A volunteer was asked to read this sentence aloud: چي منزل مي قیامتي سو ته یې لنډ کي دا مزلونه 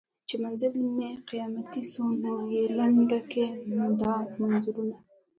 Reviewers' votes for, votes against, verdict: 2, 0, accepted